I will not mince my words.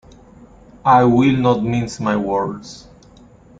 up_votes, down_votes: 2, 1